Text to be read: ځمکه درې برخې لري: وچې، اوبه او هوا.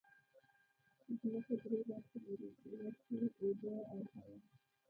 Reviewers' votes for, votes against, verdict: 1, 2, rejected